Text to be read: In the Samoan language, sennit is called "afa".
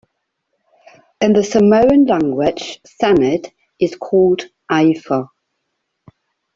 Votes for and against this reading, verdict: 0, 2, rejected